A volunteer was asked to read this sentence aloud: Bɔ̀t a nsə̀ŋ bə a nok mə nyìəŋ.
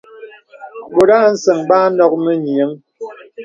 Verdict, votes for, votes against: accepted, 2, 0